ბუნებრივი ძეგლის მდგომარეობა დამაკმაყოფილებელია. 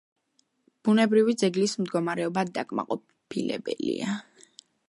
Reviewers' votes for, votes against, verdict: 0, 2, rejected